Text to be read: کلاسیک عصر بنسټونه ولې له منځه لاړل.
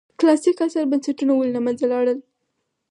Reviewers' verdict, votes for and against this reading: accepted, 4, 2